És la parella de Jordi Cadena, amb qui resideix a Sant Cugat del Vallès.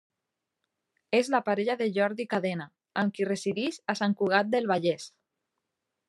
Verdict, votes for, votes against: accepted, 2, 0